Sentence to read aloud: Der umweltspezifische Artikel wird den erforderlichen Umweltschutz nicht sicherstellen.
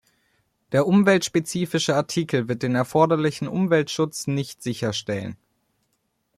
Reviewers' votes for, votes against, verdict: 2, 0, accepted